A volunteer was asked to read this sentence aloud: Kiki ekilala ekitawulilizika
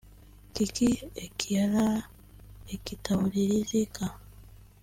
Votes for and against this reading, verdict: 2, 0, accepted